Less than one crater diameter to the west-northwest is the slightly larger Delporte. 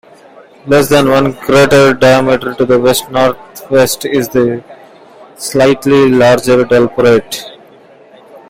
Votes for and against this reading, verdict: 2, 1, accepted